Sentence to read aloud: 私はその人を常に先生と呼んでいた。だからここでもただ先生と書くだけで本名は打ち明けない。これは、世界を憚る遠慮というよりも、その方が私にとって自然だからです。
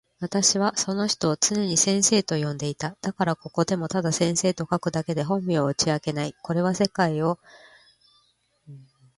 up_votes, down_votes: 0, 2